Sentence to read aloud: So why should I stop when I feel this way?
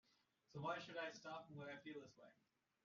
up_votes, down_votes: 1, 2